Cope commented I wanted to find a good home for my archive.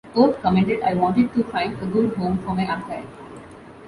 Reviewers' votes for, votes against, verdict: 1, 2, rejected